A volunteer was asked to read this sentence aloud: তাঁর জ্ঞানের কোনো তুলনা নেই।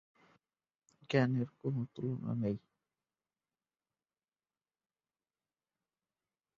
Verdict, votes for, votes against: rejected, 0, 2